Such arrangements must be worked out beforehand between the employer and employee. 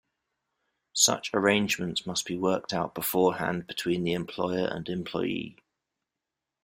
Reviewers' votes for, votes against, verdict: 2, 0, accepted